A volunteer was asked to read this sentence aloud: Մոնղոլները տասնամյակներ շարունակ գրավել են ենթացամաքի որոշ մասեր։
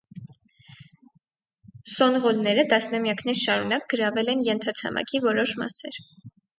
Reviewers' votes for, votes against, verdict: 2, 4, rejected